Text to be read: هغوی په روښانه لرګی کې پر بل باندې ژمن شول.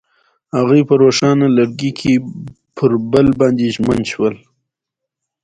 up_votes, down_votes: 2, 0